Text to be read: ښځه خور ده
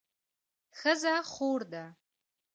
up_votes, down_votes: 2, 1